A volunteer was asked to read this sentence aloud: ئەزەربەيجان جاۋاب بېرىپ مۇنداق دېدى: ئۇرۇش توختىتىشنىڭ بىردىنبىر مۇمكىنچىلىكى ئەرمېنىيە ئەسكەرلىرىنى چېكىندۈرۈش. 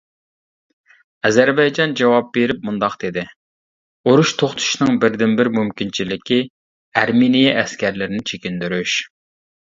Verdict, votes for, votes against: rejected, 0, 2